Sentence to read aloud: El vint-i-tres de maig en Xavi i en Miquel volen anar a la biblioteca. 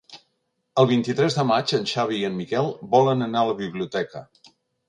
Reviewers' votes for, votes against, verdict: 4, 0, accepted